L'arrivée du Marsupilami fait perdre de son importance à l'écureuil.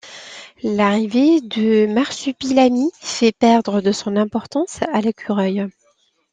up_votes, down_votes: 2, 0